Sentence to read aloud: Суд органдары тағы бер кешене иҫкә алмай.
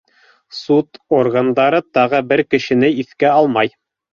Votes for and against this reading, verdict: 2, 0, accepted